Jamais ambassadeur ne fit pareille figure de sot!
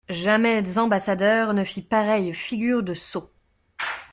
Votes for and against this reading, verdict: 2, 0, accepted